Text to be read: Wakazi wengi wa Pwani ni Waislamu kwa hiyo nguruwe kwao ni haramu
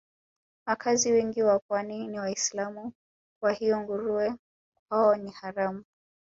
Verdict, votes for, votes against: rejected, 1, 2